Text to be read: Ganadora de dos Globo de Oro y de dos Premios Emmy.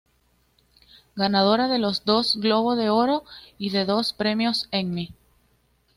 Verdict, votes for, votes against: rejected, 0, 2